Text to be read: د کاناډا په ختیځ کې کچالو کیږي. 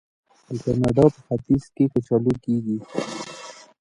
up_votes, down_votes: 0, 2